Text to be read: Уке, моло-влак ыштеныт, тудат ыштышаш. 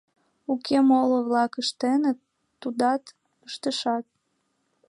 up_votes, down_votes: 2, 1